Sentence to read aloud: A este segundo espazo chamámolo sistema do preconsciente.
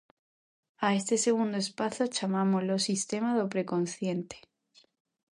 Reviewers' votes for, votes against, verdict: 2, 0, accepted